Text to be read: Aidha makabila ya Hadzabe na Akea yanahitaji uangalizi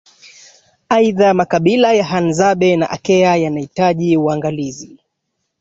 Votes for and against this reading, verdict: 1, 2, rejected